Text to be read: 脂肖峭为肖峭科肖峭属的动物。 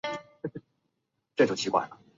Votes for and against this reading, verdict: 0, 2, rejected